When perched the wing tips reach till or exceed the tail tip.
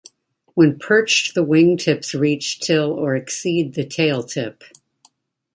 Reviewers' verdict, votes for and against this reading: accepted, 2, 0